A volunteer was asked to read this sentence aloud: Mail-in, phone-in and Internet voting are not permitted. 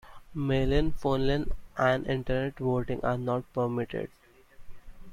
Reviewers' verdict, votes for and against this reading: rejected, 0, 2